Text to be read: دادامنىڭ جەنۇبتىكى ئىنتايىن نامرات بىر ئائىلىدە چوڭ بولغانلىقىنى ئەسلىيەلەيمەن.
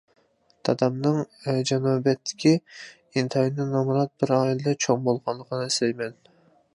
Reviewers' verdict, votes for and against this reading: rejected, 0, 2